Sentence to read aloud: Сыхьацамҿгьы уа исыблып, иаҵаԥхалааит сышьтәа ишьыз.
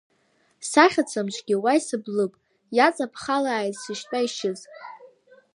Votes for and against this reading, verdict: 0, 2, rejected